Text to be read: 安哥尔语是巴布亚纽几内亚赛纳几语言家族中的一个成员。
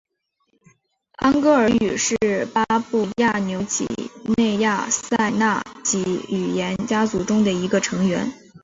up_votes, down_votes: 0, 2